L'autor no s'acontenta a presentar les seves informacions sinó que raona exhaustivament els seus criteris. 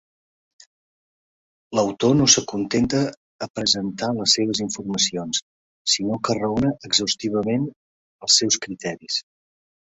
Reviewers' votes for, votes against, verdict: 3, 0, accepted